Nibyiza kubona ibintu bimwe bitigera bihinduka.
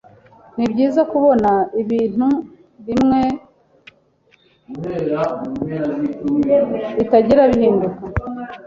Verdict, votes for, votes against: rejected, 1, 2